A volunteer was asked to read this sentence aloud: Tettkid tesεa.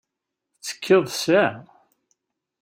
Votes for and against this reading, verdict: 1, 2, rejected